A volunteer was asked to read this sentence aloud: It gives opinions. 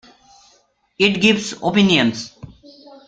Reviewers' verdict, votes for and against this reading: accepted, 2, 0